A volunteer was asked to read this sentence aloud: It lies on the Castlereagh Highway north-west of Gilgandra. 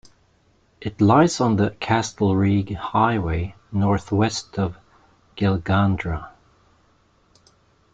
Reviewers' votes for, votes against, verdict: 1, 2, rejected